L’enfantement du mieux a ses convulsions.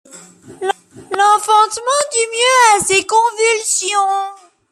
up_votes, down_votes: 0, 2